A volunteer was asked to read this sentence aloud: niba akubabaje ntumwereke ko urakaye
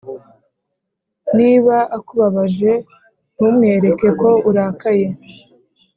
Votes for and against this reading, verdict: 3, 0, accepted